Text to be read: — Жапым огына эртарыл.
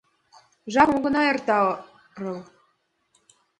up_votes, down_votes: 0, 2